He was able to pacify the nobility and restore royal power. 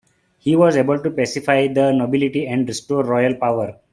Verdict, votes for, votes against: accepted, 2, 0